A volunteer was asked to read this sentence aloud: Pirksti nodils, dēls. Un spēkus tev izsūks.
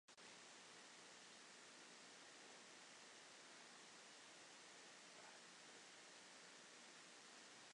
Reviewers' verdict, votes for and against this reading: rejected, 0, 2